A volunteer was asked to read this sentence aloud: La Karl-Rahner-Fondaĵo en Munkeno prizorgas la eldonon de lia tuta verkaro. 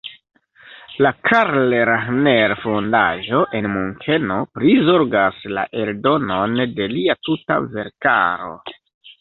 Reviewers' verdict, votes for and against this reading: accepted, 2, 1